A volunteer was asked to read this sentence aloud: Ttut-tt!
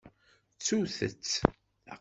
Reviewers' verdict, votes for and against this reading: accepted, 2, 0